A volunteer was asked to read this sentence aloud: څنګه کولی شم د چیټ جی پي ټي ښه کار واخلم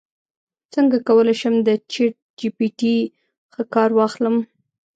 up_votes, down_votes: 2, 0